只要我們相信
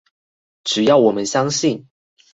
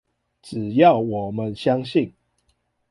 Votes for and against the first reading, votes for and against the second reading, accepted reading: 2, 2, 2, 0, second